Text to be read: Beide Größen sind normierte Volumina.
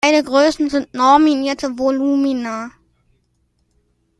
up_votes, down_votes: 1, 2